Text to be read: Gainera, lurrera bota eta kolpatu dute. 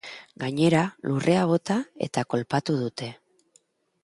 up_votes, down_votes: 0, 2